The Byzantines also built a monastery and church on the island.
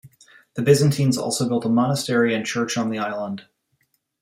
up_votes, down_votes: 2, 0